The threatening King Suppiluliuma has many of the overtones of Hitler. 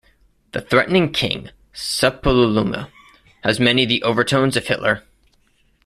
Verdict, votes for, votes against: rejected, 0, 2